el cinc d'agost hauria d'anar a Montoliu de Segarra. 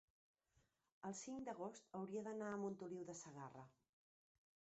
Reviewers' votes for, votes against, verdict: 1, 2, rejected